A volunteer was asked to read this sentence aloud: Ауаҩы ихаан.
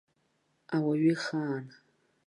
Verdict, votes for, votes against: accepted, 2, 0